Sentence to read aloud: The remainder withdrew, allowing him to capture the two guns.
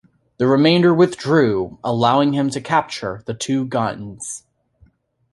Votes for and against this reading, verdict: 2, 0, accepted